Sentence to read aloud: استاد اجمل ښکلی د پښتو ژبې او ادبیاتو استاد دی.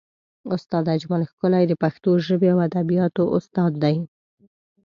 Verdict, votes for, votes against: accepted, 2, 0